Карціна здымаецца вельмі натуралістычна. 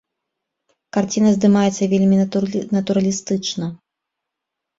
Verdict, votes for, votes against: rejected, 1, 2